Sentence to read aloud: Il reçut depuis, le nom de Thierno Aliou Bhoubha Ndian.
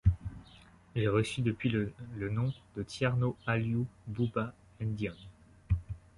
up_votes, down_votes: 2, 0